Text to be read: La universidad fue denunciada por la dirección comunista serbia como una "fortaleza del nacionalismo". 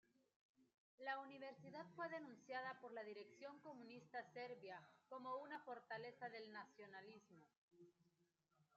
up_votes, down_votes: 0, 2